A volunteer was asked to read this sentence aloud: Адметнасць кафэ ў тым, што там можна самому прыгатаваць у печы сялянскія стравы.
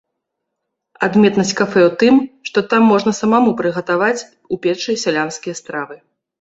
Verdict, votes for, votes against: rejected, 0, 2